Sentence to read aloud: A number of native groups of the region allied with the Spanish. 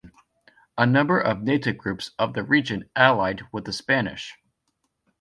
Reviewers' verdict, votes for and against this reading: accepted, 2, 0